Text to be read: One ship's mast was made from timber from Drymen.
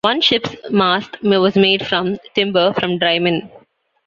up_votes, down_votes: 1, 2